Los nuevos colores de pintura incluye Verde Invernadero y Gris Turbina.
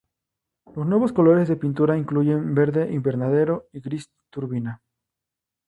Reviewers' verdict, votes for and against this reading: accepted, 2, 0